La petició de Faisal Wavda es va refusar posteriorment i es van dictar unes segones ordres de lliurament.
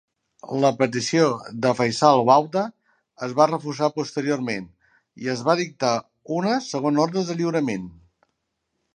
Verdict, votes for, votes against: rejected, 1, 2